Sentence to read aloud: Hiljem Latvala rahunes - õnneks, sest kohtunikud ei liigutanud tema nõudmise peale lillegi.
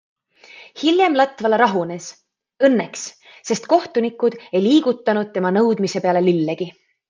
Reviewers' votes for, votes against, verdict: 2, 0, accepted